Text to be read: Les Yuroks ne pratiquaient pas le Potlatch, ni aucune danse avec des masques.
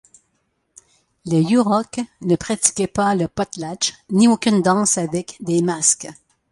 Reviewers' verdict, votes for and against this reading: accepted, 2, 0